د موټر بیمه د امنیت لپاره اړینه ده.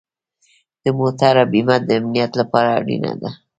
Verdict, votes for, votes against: accepted, 2, 0